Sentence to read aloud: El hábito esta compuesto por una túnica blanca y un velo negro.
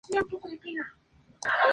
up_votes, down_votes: 0, 4